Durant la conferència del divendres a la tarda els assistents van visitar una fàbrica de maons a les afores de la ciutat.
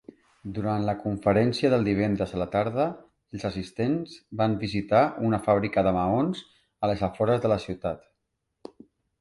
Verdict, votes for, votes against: accepted, 3, 0